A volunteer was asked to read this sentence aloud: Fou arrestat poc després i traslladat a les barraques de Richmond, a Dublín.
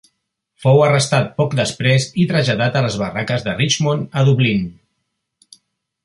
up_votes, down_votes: 3, 0